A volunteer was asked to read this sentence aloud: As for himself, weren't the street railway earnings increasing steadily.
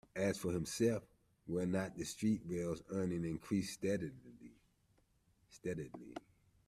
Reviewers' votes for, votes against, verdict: 1, 2, rejected